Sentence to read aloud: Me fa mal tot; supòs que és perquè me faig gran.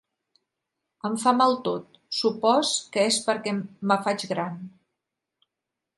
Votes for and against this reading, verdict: 0, 4, rejected